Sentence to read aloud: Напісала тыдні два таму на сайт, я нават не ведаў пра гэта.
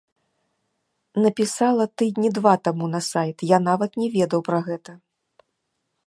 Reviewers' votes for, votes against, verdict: 2, 0, accepted